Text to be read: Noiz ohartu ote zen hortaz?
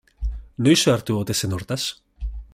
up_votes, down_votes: 2, 0